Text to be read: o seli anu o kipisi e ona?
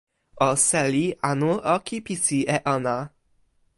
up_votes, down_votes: 2, 0